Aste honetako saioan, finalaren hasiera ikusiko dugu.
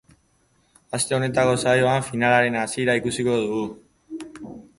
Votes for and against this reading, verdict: 2, 0, accepted